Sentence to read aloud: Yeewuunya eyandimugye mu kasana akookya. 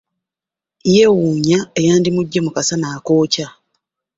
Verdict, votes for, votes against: accepted, 2, 0